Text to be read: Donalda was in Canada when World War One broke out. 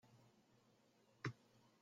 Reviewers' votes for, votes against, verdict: 0, 2, rejected